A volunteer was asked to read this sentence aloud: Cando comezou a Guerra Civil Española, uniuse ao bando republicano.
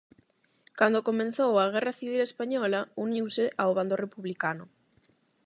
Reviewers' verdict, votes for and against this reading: rejected, 0, 8